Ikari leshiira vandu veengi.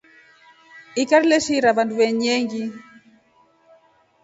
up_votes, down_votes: 3, 0